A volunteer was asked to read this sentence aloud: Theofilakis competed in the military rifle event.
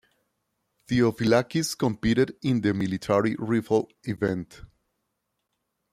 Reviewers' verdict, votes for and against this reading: rejected, 1, 2